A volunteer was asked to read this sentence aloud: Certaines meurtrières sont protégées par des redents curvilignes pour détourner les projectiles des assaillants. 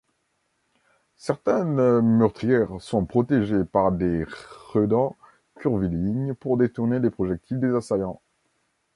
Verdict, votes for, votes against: rejected, 1, 2